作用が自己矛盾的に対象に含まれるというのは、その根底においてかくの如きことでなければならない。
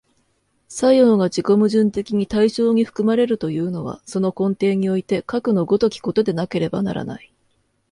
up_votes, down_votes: 2, 0